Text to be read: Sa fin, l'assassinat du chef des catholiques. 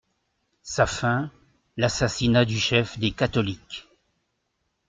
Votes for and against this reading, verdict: 2, 0, accepted